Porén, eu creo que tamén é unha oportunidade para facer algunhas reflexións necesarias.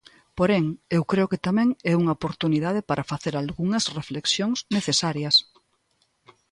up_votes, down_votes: 2, 0